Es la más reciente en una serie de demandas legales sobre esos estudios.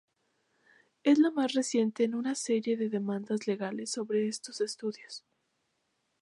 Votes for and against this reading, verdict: 0, 2, rejected